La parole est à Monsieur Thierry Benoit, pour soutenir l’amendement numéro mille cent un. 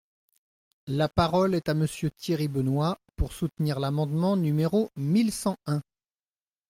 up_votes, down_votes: 2, 0